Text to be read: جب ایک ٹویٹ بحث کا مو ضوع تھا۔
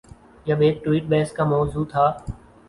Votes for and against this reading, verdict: 2, 0, accepted